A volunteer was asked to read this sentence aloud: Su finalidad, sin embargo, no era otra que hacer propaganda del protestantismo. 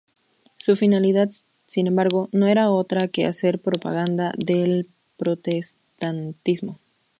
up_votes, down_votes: 0, 2